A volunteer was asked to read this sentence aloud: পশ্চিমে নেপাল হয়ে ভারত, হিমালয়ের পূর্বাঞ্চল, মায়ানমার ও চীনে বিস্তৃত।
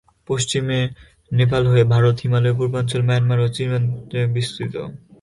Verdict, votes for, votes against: rejected, 1, 10